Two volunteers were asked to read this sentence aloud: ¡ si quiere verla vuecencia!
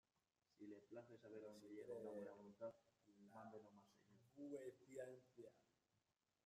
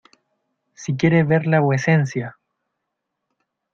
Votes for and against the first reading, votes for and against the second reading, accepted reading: 0, 2, 2, 0, second